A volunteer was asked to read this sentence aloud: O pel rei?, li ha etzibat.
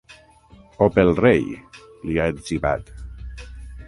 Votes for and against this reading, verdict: 3, 3, rejected